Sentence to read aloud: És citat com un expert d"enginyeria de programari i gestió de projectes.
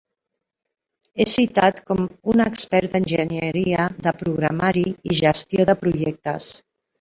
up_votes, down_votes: 0, 2